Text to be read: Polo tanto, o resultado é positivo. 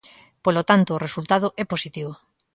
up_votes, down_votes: 2, 0